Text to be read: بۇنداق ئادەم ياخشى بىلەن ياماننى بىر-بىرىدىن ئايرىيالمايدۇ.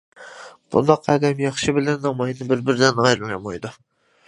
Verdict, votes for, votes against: rejected, 0, 2